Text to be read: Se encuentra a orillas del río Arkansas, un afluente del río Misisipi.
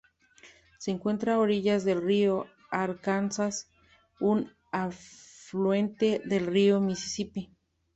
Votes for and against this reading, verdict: 2, 0, accepted